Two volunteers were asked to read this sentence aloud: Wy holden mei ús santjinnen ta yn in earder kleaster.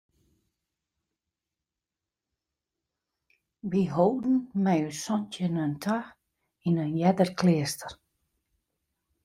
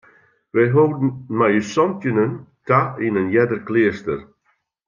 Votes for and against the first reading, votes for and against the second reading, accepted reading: 1, 2, 2, 0, second